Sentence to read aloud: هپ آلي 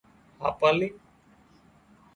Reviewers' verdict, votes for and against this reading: rejected, 0, 2